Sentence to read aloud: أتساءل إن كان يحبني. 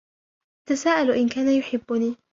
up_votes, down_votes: 1, 2